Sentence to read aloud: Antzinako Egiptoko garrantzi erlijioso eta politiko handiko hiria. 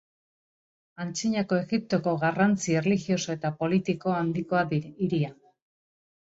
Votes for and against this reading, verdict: 0, 2, rejected